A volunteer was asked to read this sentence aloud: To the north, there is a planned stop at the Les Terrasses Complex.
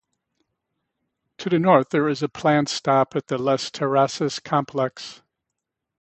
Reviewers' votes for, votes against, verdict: 2, 0, accepted